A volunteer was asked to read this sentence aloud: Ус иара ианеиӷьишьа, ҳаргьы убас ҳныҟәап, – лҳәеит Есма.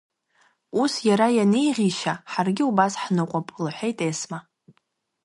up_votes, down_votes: 1, 2